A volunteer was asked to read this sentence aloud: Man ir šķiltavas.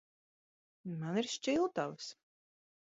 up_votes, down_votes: 2, 0